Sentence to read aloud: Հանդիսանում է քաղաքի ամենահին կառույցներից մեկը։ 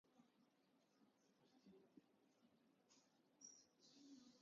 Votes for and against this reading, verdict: 0, 2, rejected